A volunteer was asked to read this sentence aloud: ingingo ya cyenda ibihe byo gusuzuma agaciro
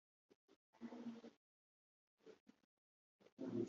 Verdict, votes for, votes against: rejected, 0, 2